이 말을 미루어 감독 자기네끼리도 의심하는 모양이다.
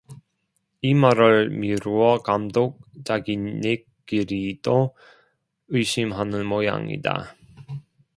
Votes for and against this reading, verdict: 0, 2, rejected